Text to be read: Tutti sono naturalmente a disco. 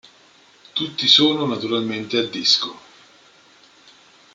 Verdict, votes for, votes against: accepted, 2, 0